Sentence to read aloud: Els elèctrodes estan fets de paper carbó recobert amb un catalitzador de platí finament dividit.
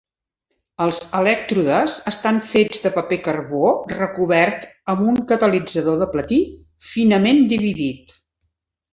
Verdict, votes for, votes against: accepted, 4, 0